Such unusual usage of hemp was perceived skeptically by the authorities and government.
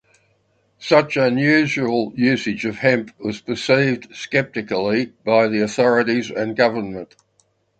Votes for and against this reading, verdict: 4, 0, accepted